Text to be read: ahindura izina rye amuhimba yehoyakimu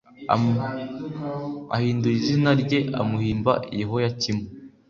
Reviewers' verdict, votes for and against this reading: accepted, 2, 0